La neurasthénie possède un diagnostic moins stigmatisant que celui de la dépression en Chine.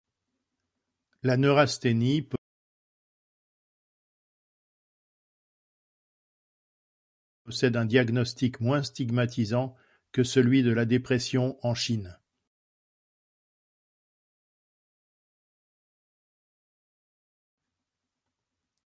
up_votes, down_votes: 0, 2